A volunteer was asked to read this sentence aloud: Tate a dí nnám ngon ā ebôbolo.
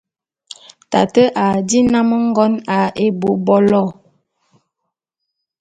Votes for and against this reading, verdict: 2, 0, accepted